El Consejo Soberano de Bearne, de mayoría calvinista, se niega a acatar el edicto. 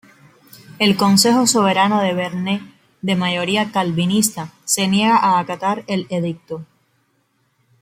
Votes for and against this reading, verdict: 2, 0, accepted